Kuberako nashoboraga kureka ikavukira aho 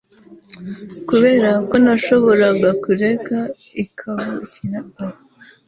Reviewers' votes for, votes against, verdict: 1, 2, rejected